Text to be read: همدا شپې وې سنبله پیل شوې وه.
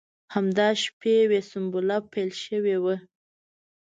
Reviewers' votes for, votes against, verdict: 2, 0, accepted